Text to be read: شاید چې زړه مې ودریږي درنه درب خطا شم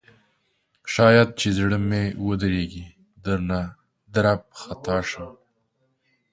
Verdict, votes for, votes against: accepted, 3, 0